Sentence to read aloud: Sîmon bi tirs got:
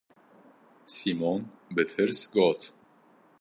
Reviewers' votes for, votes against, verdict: 2, 0, accepted